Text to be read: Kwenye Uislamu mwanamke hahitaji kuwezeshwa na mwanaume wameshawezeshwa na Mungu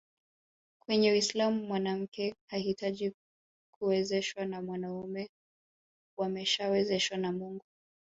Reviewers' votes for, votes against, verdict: 4, 0, accepted